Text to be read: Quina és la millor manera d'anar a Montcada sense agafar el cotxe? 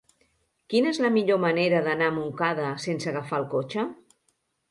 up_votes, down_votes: 3, 0